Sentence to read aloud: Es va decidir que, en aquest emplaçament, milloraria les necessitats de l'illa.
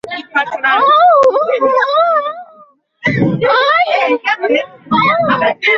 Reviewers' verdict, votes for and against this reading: rejected, 0, 5